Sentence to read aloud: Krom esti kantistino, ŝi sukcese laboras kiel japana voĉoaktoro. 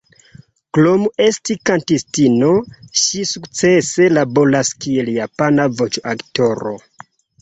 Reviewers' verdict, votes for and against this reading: accepted, 2, 0